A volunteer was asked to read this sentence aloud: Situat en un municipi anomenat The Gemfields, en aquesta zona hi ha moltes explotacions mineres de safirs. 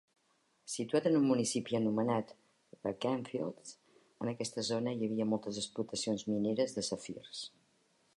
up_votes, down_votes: 0, 2